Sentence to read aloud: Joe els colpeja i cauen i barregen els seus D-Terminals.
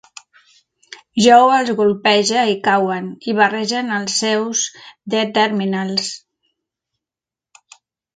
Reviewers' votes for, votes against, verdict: 3, 4, rejected